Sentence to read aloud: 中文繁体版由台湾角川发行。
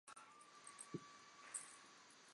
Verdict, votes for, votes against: accepted, 2, 0